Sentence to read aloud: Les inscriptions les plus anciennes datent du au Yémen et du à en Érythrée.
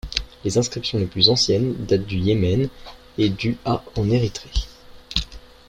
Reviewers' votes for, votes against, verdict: 2, 0, accepted